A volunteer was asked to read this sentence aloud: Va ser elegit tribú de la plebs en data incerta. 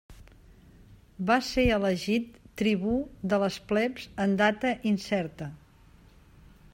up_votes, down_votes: 0, 2